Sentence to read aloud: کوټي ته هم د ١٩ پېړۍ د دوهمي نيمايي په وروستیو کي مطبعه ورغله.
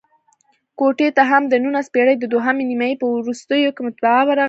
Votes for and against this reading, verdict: 0, 2, rejected